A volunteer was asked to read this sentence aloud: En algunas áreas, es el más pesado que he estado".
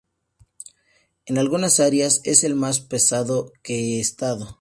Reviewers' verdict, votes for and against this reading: accepted, 2, 0